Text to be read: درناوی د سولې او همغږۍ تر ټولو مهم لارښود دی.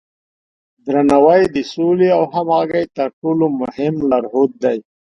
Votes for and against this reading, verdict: 3, 0, accepted